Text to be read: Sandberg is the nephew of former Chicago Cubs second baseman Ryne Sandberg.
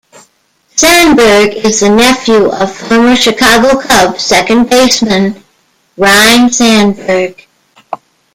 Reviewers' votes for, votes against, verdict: 1, 2, rejected